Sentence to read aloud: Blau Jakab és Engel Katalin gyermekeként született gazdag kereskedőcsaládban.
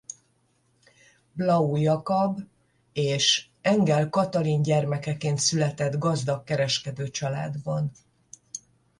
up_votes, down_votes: 10, 0